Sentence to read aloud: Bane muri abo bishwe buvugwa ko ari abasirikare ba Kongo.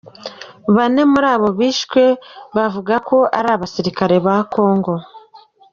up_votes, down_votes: 2, 1